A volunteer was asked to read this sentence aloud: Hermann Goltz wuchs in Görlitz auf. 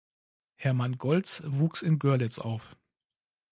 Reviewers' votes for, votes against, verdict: 2, 0, accepted